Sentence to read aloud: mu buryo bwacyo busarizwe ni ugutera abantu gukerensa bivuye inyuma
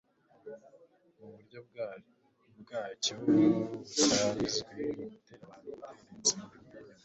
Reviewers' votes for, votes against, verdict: 1, 2, rejected